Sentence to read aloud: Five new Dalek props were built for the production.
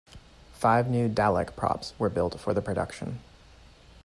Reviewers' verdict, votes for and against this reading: accepted, 2, 0